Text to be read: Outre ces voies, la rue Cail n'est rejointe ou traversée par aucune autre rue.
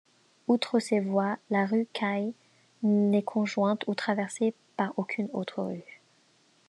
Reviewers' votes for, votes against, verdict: 0, 2, rejected